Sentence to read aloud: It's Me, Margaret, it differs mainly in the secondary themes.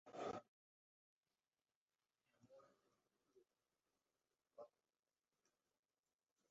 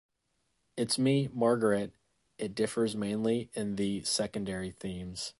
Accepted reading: second